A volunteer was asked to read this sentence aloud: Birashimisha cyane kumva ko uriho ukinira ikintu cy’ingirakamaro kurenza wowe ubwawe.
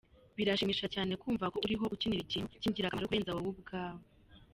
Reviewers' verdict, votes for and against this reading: rejected, 2, 3